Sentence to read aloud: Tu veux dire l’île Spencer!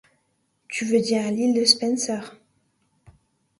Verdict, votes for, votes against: rejected, 1, 2